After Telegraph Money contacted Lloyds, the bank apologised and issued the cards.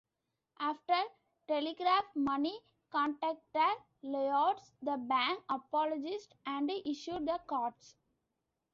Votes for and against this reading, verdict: 0, 2, rejected